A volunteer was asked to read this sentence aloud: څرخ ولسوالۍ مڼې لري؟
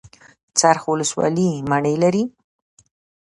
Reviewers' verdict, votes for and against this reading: rejected, 1, 2